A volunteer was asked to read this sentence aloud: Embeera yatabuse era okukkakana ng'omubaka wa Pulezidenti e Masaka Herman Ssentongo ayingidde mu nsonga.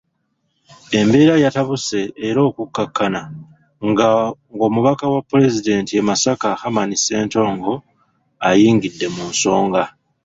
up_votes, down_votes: 0, 2